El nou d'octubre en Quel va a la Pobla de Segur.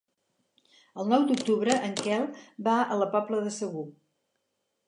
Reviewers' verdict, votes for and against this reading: accepted, 4, 0